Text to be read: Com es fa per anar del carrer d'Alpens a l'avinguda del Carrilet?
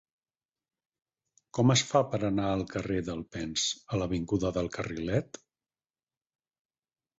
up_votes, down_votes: 6, 0